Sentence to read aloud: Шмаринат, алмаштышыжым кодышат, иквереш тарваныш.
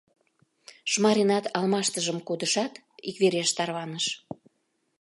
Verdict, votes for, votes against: rejected, 0, 2